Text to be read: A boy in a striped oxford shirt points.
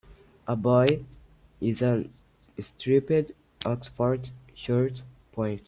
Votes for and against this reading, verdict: 0, 3, rejected